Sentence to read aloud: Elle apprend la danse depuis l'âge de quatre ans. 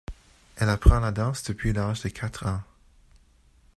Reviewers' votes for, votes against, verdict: 2, 0, accepted